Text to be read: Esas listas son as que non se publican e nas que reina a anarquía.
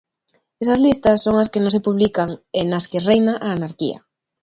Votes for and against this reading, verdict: 2, 0, accepted